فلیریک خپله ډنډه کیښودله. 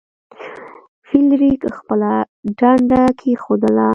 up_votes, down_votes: 1, 2